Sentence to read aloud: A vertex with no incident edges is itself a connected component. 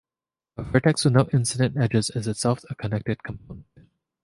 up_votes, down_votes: 2, 1